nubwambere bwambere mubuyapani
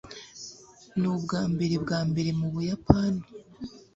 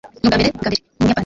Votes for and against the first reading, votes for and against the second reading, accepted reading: 2, 0, 1, 2, first